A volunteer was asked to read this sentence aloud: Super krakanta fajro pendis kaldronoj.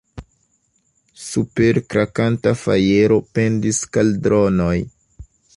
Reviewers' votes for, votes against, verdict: 2, 3, rejected